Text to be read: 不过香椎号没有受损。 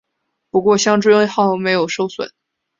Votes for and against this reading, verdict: 2, 0, accepted